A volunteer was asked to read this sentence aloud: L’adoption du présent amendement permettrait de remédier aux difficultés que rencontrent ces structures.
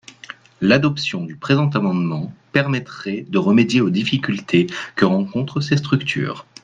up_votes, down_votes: 2, 0